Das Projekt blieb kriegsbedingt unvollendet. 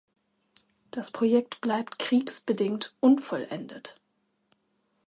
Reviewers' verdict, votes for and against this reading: rejected, 0, 2